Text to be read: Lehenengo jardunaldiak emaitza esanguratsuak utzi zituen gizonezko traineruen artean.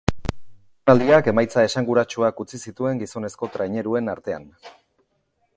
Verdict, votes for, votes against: accepted, 3, 2